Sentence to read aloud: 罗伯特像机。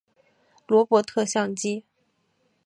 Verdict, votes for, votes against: accepted, 4, 0